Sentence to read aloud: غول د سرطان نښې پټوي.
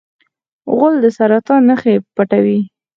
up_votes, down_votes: 0, 4